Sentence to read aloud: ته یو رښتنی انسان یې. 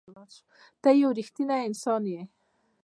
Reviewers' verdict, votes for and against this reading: rejected, 0, 2